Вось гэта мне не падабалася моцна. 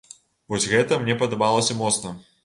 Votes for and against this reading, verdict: 1, 2, rejected